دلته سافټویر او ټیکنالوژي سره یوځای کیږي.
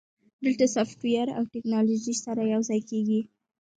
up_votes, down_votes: 1, 2